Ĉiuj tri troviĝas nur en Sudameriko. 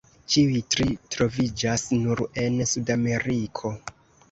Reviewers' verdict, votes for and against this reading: accepted, 2, 0